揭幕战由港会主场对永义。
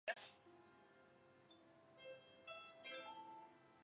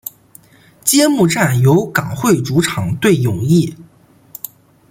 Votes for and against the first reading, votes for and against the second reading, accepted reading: 0, 8, 2, 0, second